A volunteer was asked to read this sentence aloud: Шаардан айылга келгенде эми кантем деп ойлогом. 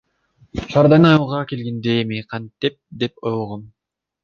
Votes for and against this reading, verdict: 2, 1, accepted